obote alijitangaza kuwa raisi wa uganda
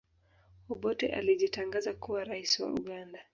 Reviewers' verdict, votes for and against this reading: rejected, 0, 2